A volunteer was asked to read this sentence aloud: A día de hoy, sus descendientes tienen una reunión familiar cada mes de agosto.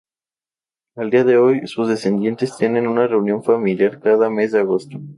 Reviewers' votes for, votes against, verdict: 0, 2, rejected